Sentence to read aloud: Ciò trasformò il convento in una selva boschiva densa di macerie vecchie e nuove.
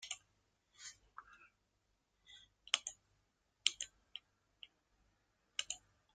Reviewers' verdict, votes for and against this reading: rejected, 0, 2